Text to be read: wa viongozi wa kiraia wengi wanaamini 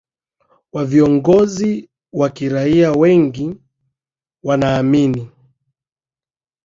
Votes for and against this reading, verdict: 2, 0, accepted